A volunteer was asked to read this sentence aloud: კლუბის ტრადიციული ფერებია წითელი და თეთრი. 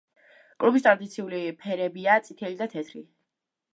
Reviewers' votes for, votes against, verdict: 2, 0, accepted